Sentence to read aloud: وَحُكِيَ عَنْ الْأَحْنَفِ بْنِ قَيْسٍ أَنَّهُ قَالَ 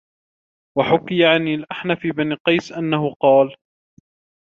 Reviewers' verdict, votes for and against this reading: accepted, 2, 0